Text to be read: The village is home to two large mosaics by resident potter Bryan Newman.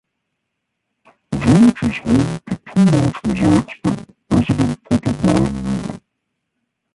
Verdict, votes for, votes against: rejected, 0, 2